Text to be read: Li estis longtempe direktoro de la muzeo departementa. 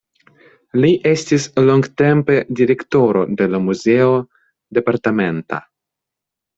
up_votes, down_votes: 2, 0